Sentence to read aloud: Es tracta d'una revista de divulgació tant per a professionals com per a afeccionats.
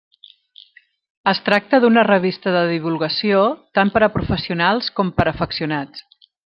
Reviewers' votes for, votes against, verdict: 3, 0, accepted